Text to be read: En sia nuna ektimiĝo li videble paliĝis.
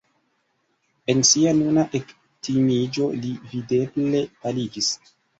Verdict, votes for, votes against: rejected, 2, 3